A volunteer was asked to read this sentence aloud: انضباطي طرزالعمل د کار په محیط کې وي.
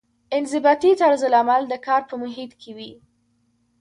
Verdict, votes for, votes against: accepted, 2, 0